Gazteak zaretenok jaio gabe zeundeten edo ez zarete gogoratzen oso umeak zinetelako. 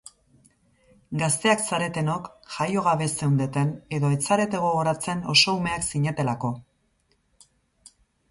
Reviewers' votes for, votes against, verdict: 2, 2, rejected